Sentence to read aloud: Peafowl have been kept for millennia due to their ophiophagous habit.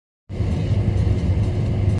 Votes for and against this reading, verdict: 0, 2, rejected